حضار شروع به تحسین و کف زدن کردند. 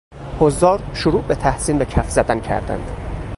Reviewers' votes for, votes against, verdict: 2, 2, rejected